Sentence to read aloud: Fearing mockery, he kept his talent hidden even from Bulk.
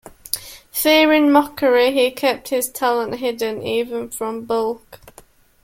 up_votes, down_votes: 2, 0